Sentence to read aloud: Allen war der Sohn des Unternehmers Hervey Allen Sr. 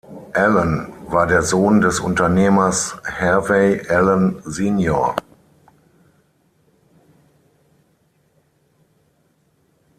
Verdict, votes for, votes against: rejected, 3, 6